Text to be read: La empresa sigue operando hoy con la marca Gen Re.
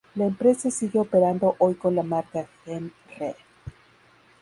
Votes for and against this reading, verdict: 0, 2, rejected